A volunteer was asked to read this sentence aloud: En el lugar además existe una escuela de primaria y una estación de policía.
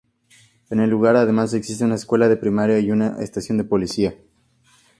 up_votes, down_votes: 2, 0